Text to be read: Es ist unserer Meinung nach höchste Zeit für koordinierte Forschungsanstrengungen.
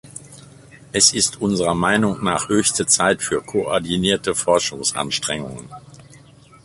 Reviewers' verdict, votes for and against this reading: accepted, 3, 1